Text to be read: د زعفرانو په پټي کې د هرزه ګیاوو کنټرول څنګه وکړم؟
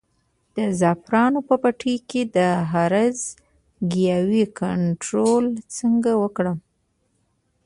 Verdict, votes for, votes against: accepted, 2, 0